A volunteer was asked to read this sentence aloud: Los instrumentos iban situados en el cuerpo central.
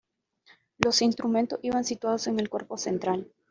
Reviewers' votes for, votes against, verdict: 2, 1, accepted